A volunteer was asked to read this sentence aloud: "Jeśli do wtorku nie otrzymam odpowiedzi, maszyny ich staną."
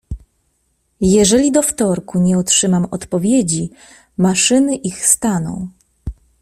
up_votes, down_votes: 0, 2